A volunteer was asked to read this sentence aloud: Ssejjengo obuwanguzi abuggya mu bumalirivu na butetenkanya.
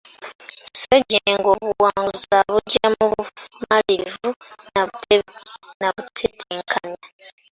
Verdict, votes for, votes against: rejected, 1, 2